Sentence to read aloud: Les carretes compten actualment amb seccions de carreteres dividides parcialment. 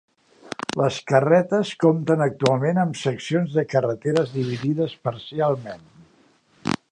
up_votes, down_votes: 3, 0